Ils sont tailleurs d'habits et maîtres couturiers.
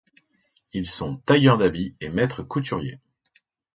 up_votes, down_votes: 2, 0